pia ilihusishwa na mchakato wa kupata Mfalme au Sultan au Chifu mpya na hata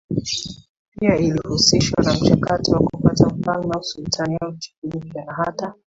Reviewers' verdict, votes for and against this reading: accepted, 2, 1